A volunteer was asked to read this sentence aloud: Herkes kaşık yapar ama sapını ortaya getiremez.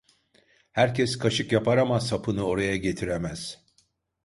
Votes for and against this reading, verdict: 0, 2, rejected